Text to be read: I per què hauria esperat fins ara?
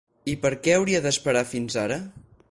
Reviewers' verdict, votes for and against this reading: rejected, 4, 8